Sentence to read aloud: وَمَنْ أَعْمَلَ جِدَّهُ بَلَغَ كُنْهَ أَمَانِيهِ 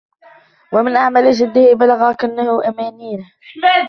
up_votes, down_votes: 0, 2